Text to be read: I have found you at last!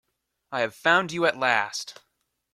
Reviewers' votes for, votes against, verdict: 2, 0, accepted